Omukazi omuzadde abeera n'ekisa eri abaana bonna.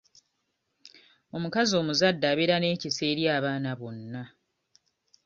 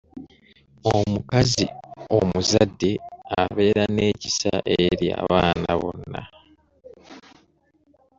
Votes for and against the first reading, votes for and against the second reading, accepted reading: 2, 0, 1, 2, first